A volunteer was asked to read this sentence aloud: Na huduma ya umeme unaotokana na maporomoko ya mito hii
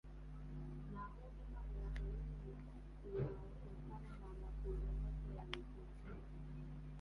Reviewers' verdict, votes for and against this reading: rejected, 0, 2